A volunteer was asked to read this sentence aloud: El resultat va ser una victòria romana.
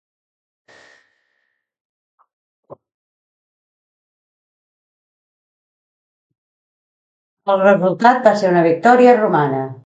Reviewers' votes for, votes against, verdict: 1, 2, rejected